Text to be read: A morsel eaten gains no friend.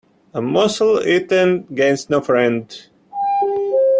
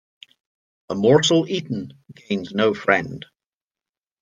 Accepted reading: second